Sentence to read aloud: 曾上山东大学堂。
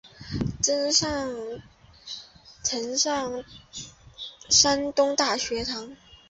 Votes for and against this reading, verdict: 0, 2, rejected